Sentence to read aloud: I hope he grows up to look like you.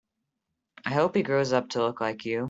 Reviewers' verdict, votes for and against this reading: accepted, 2, 1